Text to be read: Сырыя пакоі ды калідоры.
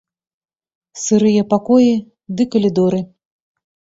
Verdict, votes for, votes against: accepted, 2, 0